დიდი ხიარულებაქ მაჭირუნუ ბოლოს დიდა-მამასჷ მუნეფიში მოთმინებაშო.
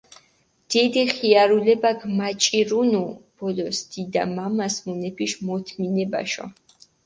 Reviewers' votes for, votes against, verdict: 4, 0, accepted